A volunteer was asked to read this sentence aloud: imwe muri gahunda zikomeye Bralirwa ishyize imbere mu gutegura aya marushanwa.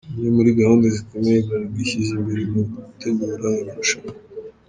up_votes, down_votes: 1, 2